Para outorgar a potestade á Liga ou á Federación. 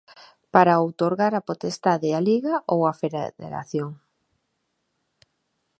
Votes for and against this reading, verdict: 0, 2, rejected